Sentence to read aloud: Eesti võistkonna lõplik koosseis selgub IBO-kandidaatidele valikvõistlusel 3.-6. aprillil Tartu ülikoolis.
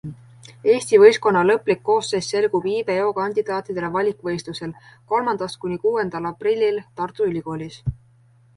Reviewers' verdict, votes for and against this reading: rejected, 0, 2